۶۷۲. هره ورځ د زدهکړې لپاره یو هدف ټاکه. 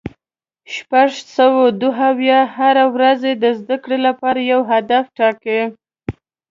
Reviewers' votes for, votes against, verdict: 0, 2, rejected